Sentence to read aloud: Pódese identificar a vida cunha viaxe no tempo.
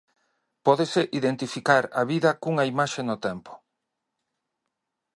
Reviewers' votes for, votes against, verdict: 0, 2, rejected